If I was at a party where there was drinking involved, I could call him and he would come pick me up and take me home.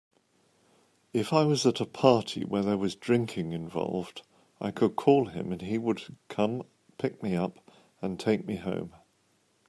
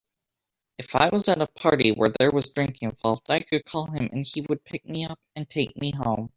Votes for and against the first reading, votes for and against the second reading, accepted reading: 2, 0, 0, 2, first